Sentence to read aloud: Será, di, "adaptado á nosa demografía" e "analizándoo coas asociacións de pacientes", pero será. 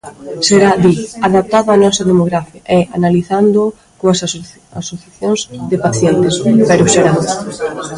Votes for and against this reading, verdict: 1, 2, rejected